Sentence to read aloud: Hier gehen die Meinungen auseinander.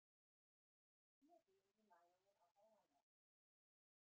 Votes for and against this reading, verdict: 0, 2, rejected